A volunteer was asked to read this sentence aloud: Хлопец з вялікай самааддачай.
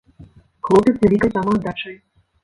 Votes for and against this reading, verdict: 0, 2, rejected